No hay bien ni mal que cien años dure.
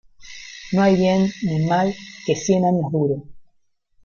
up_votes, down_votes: 2, 1